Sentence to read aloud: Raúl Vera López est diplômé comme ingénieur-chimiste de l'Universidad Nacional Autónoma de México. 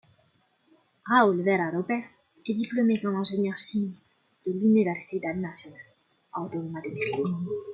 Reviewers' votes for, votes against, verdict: 0, 2, rejected